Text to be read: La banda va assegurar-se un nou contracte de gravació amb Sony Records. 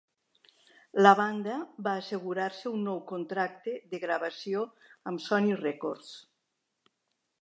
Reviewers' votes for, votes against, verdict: 3, 0, accepted